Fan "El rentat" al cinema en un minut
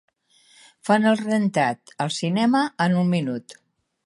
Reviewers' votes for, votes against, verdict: 3, 0, accepted